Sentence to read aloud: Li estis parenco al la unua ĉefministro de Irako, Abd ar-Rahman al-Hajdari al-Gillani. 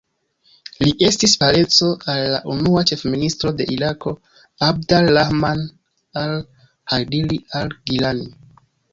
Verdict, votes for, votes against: rejected, 0, 2